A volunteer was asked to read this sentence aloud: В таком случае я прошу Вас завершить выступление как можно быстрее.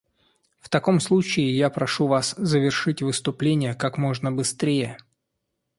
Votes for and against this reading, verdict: 2, 0, accepted